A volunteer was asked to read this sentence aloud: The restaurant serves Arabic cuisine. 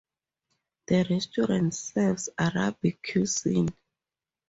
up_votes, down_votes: 0, 4